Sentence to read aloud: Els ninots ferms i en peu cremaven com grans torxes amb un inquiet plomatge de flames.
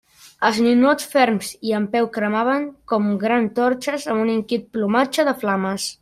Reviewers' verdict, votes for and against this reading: rejected, 1, 2